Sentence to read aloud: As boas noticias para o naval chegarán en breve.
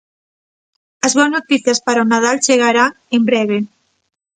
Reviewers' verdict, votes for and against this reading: rejected, 0, 2